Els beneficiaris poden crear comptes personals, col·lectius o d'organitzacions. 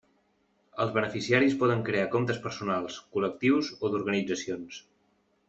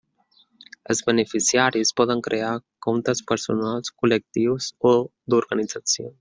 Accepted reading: first